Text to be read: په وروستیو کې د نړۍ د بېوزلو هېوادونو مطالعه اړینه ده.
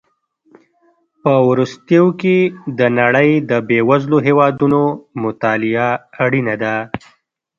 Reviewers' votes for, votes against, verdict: 1, 2, rejected